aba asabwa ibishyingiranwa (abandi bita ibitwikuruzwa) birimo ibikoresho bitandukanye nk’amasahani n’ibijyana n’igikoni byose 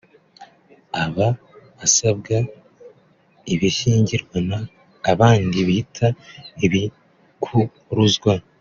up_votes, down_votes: 0, 2